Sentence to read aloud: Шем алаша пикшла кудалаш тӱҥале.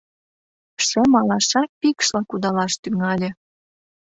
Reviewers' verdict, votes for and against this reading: accepted, 2, 1